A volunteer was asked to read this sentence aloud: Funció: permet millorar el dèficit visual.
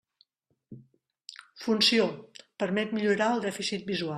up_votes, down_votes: 1, 2